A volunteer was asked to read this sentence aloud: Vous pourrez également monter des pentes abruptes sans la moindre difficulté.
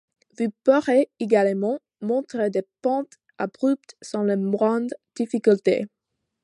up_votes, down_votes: 2, 0